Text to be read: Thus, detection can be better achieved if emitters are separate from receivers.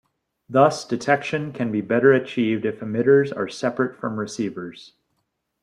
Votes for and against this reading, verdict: 2, 0, accepted